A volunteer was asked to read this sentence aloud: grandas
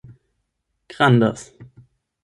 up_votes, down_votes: 8, 0